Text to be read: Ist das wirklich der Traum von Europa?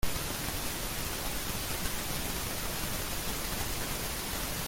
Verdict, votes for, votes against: rejected, 0, 2